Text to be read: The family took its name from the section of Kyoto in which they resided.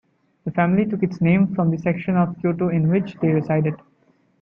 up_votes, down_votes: 2, 0